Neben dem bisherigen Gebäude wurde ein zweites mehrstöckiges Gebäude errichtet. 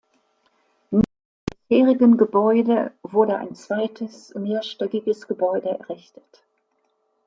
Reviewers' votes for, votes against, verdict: 0, 2, rejected